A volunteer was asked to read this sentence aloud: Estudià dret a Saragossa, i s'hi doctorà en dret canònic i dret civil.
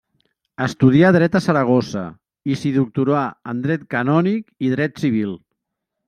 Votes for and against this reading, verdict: 1, 2, rejected